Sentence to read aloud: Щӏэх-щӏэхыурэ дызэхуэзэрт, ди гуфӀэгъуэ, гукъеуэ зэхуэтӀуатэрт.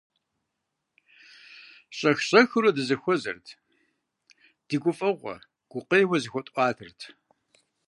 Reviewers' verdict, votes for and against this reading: accepted, 2, 0